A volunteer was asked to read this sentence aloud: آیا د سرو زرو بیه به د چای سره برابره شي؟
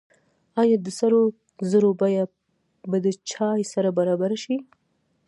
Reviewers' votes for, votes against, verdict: 1, 2, rejected